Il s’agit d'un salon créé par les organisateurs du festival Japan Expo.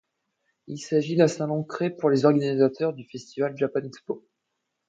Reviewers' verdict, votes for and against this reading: rejected, 1, 2